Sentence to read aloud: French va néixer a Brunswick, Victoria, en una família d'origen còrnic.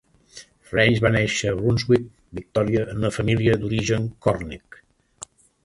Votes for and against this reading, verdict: 1, 2, rejected